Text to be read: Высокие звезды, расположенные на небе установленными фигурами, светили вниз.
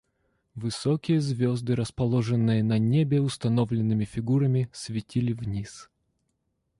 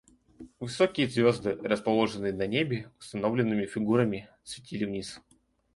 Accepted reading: first